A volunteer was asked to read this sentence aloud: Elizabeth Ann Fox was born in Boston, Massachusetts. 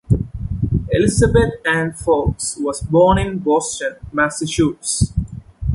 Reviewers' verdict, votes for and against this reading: rejected, 0, 2